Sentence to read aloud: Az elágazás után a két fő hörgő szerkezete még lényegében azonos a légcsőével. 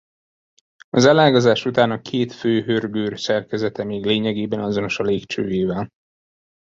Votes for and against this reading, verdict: 1, 2, rejected